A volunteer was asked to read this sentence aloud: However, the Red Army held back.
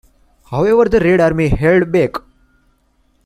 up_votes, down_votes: 2, 0